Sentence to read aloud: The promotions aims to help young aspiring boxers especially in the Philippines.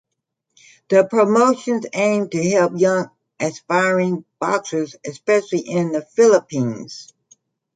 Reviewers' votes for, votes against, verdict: 0, 2, rejected